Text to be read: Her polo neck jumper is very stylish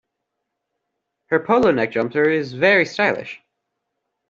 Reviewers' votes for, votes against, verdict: 2, 1, accepted